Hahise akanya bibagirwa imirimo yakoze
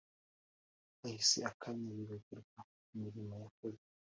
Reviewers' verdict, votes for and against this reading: accepted, 2, 0